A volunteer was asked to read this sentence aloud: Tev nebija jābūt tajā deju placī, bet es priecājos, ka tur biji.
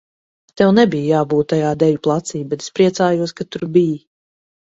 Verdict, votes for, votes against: accepted, 4, 0